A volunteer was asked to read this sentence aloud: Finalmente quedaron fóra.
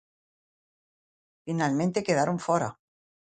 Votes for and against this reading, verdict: 2, 1, accepted